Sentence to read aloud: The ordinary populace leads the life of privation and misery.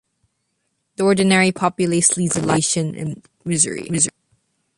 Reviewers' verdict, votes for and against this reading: rejected, 0, 3